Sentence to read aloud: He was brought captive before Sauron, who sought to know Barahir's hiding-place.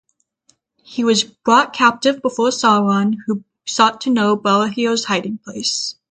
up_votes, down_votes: 6, 0